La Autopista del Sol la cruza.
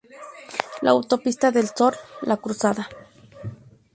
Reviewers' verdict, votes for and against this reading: rejected, 0, 2